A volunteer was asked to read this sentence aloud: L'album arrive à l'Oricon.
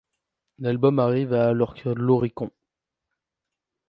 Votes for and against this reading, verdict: 0, 2, rejected